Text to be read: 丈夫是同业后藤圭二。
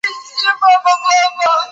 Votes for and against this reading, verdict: 0, 7, rejected